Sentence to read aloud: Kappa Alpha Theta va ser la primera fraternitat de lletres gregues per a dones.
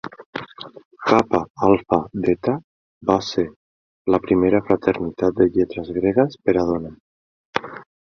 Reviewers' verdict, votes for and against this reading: accepted, 2, 0